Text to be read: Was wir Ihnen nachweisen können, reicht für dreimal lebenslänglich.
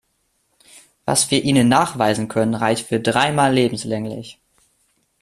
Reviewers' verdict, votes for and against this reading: accepted, 2, 0